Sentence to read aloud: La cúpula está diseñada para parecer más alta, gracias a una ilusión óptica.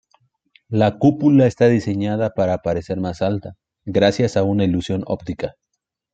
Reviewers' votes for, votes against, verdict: 2, 0, accepted